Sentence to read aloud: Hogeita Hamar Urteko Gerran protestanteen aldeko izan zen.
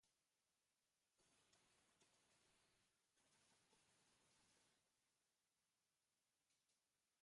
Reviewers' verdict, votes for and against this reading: rejected, 0, 2